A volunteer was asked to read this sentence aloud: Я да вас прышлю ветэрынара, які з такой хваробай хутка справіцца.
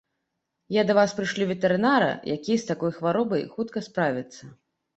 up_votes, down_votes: 2, 0